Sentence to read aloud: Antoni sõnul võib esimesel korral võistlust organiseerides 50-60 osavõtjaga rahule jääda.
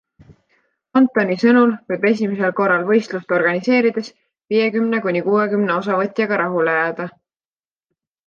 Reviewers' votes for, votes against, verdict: 0, 2, rejected